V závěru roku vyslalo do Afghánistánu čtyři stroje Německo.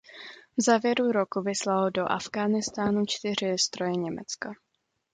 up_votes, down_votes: 2, 0